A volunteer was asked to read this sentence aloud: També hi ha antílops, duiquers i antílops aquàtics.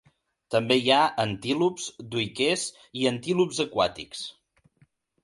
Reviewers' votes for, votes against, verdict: 2, 0, accepted